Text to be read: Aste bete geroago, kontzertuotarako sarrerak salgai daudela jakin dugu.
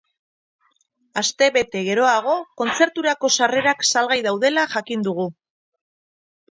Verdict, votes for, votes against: rejected, 2, 4